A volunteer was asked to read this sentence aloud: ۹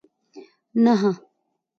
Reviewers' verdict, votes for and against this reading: rejected, 0, 2